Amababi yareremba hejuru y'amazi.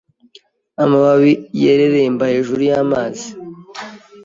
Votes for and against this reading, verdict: 2, 3, rejected